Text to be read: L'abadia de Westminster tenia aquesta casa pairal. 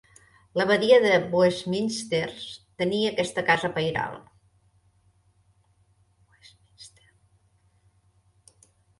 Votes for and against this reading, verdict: 1, 2, rejected